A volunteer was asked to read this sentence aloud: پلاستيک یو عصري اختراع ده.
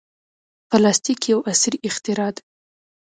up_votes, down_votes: 2, 0